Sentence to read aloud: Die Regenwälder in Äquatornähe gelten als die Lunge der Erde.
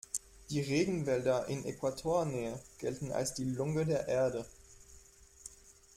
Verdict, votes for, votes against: accepted, 2, 0